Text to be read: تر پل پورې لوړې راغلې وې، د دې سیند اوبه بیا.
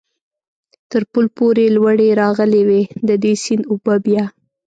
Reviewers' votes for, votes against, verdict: 2, 0, accepted